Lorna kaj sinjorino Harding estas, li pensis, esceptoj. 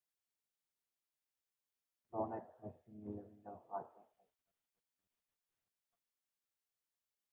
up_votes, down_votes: 0, 2